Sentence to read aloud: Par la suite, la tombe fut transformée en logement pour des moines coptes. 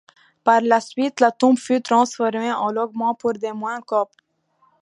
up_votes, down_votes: 0, 2